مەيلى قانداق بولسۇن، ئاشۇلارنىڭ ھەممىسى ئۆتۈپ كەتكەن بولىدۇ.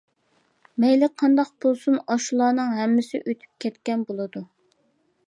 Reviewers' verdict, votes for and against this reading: accepted, 2, 0